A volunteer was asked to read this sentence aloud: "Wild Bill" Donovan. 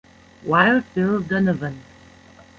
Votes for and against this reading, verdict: 2, 1, accepted